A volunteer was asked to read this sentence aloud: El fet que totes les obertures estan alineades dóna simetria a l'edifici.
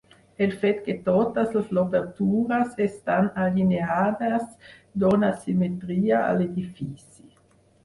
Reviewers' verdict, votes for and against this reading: accepted, 4, 0